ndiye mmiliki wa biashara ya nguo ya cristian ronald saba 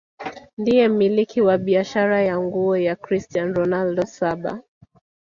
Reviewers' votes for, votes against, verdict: 2, 1, accepted